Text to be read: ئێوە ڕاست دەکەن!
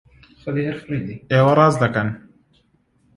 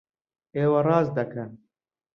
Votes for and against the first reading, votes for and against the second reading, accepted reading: 0, 2, 2, 0, second